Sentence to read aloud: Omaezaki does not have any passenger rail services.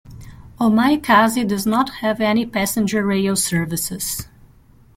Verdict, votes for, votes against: rejected, 0, 2